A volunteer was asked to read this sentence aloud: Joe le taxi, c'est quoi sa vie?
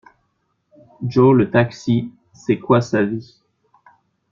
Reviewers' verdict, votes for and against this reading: accepted, 2, 0